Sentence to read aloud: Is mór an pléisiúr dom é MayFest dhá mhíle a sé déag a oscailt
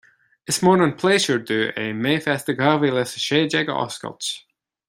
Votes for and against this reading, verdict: 2, 0, accepted